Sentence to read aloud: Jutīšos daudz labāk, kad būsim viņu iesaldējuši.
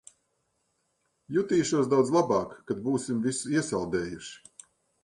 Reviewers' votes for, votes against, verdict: 0, 2, rejected